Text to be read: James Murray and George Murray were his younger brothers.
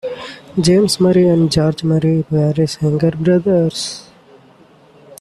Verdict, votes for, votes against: accepted, 2, 1